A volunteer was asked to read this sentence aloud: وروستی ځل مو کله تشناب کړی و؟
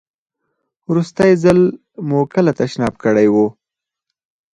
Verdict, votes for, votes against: rejected, 2, 4